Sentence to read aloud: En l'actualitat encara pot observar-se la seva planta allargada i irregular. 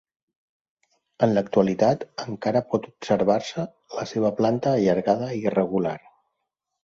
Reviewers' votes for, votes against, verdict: 2, 0, accepted